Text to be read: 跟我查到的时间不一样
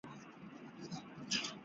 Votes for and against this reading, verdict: 0, 2, rejected